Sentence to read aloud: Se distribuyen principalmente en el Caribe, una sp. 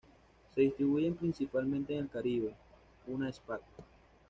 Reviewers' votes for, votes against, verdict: 1, 2, rejected